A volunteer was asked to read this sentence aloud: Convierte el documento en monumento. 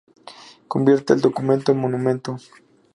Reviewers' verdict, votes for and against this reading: accepted, 2, 0